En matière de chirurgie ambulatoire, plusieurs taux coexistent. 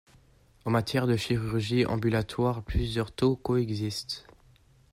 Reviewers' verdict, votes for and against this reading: accepted, 2, 0